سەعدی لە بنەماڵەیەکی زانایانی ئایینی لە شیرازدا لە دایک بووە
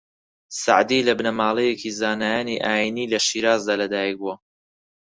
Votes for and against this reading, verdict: 4, 0, accepted